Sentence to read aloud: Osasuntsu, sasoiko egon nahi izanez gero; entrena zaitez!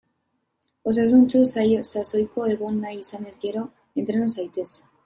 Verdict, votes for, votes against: rejected, 0, 2